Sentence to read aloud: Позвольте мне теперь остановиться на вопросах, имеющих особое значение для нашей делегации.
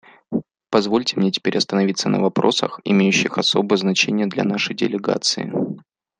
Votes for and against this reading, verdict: 2, 0, accepted